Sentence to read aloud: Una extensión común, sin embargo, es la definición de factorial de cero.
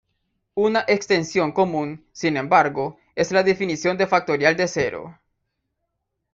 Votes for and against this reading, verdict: 2, 0, accepted